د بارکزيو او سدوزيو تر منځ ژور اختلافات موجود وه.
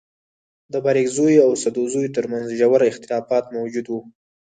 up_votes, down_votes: 0, 4